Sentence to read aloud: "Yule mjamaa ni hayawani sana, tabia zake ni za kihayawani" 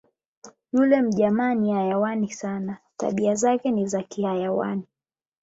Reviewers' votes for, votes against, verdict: 20, 0, accepted